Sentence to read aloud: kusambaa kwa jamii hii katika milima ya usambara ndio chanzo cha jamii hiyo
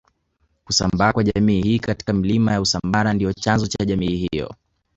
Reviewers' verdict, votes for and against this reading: accepted, 2, 0